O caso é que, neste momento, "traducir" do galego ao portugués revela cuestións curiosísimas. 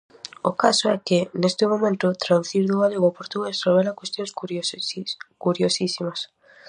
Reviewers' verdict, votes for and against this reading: rejected, 0, 4